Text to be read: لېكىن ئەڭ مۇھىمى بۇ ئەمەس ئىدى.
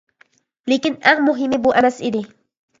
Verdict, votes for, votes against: accepted, 2, 0